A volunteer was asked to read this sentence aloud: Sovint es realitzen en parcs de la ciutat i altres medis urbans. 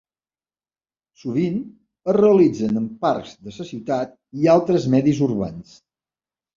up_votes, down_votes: 1, 2